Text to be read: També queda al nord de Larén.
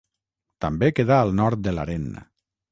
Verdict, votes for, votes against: rejected, 3, 3